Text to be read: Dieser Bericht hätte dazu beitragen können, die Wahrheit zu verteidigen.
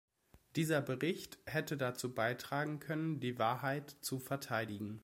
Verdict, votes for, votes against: accepted, 2, 0